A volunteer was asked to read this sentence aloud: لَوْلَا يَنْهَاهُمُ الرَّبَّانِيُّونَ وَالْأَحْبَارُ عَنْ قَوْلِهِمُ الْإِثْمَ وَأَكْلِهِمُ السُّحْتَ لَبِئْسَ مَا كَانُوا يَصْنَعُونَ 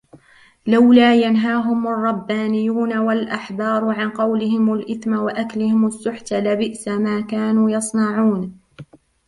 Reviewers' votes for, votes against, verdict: 2, 1, accepted